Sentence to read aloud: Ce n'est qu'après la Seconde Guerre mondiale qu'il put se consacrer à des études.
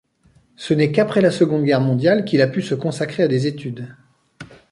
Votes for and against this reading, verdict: 0, 2, rejected